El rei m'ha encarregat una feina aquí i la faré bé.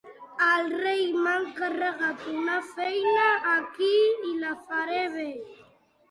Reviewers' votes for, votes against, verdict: 2, 0, accepted